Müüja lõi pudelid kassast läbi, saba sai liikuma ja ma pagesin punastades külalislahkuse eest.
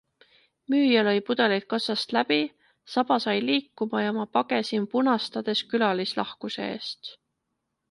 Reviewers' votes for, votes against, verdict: 2, 0, accepted